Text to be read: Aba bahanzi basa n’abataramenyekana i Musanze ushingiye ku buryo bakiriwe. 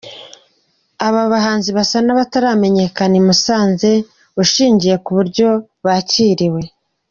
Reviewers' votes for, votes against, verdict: 2, 0, accepted